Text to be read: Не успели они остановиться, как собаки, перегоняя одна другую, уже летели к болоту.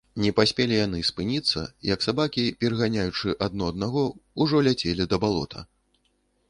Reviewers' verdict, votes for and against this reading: rejected, 0, 2